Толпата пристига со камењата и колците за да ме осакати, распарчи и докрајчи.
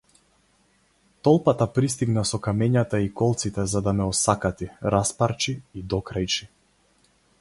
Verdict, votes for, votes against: rejected, 0, 4